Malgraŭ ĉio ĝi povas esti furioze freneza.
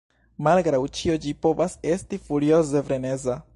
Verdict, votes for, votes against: accepted, 2, 0